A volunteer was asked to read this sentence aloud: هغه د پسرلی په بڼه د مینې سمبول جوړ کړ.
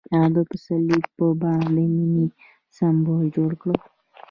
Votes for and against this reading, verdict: 2, 0, accepted